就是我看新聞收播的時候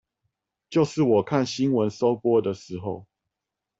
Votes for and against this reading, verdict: 4, 0, accepted